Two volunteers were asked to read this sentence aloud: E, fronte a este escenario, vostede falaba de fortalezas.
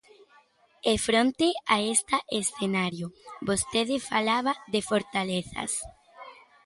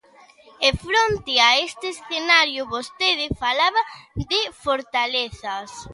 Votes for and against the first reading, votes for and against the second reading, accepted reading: 0, 2, 2, 0, second